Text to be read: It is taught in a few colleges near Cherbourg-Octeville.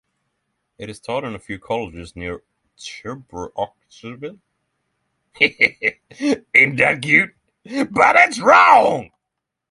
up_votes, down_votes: 0, 3